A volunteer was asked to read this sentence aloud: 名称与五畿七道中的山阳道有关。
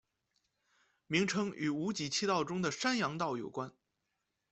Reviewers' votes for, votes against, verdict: 2, 1, accepted